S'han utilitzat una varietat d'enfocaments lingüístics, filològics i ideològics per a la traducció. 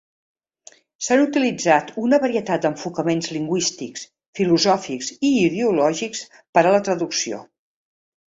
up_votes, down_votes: 1, 2